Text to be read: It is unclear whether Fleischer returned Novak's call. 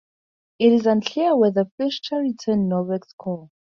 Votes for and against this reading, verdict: 0, 2, rejected